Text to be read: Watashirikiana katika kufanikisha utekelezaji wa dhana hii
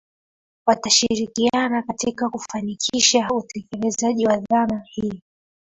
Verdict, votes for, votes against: accepted, 2, 0